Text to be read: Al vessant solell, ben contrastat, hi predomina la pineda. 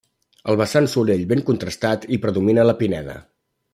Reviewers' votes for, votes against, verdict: 2, 0, accepted